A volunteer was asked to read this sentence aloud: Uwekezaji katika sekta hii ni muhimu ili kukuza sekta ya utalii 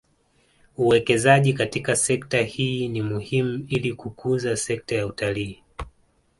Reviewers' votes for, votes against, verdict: 2, 0, accepted